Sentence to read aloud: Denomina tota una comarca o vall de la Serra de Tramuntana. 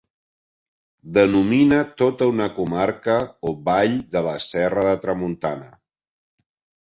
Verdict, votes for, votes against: accepted, 2, 1